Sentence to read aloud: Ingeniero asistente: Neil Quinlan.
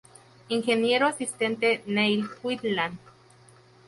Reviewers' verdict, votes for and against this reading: rejected, 0, 2